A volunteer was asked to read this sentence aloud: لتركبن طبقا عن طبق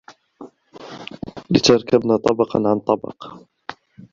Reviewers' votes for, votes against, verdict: 0, 2, rejected